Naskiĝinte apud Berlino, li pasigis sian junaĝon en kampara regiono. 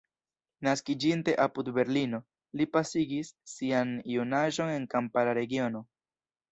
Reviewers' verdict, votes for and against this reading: rejected, 1, 2